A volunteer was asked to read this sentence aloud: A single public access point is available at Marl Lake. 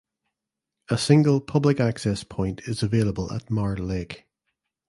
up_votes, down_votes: 2, 0